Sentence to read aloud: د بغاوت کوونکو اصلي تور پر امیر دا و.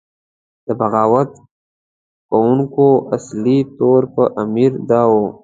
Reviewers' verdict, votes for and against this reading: accepted, 3, 0